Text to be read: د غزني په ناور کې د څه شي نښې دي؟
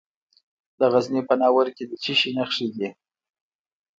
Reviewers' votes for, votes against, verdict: 1, 2, rejected